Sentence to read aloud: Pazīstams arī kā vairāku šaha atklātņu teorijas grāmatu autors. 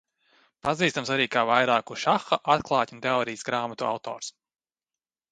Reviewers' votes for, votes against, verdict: 2, 0, accepted